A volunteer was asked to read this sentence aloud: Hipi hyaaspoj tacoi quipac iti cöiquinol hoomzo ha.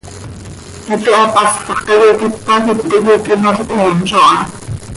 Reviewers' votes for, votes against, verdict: 1, 2, rejected